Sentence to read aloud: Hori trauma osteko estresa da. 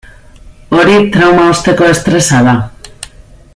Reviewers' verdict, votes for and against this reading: accepted, 2, 0